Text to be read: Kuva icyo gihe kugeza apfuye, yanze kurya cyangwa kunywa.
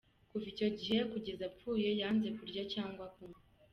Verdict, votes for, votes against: rejected, 1, 2